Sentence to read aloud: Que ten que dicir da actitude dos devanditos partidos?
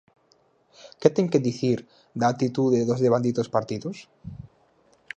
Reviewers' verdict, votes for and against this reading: accepted, 4, 0